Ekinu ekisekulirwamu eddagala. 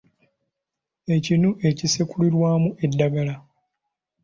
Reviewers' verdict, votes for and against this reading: accepted, 2, 0